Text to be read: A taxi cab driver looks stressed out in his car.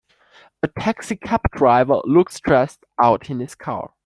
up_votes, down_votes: 2, 1